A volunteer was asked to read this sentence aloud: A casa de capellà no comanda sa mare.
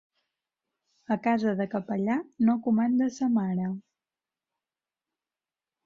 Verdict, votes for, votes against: accepted, 3, 0